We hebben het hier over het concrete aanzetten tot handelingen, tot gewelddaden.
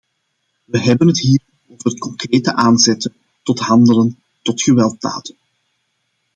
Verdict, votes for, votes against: rejected, 0, 2